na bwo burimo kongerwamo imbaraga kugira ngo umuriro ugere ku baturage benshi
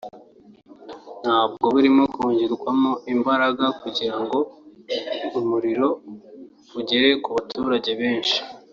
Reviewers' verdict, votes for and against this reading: rejected, 1, 2